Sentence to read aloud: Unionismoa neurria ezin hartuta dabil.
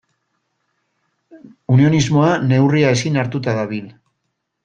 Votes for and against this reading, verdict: 2, 0, accepted